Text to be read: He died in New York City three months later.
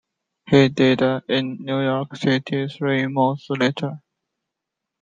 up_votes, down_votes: 0, 2